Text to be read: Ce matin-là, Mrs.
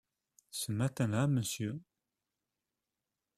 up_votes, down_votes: 0, 2